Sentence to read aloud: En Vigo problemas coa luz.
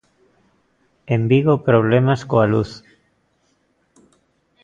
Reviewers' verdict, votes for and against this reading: accepted, 2, 0